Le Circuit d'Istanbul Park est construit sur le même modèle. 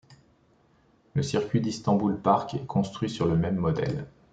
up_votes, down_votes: 3, 0